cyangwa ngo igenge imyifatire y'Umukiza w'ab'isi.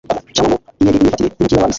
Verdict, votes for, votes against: rejected, 0, 2